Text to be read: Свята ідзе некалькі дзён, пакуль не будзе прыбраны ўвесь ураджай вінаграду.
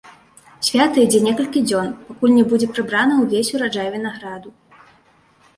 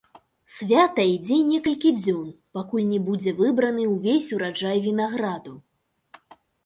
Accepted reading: first